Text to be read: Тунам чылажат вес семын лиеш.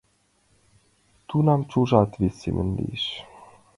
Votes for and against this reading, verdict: 0, 2, rejected